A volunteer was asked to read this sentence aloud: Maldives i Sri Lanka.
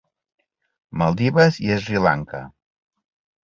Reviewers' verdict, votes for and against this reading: accepted, 2, 0